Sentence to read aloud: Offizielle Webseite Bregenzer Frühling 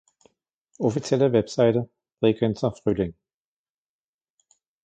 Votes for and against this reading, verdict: 2, 0, accepted